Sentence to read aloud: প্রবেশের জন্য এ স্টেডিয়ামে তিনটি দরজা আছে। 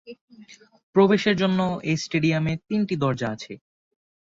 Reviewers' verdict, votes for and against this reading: accepted, 4, 0